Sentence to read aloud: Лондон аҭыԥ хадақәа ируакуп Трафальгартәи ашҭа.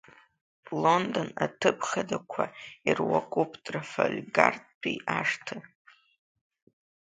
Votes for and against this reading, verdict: 2, 0, accepted